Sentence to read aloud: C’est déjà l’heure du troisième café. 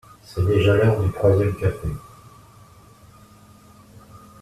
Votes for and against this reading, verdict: 2, 0, accepted